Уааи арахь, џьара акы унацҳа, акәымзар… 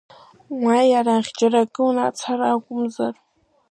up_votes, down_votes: 1, 2